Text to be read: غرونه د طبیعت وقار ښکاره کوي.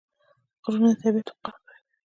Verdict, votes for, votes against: accepted, 2, 0